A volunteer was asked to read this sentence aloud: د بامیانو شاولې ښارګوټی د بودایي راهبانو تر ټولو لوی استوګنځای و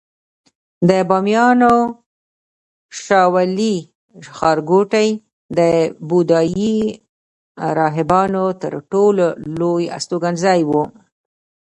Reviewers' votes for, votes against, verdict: 1, 2, rejected